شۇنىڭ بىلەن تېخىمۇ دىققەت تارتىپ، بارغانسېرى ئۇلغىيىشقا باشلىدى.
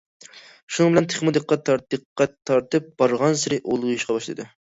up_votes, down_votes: 0, 2